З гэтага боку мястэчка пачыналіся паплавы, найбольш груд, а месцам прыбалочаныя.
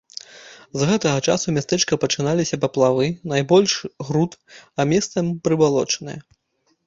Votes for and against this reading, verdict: 0, 2, rejected